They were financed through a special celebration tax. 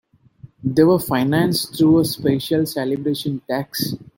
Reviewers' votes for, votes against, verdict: 2, 0, accepted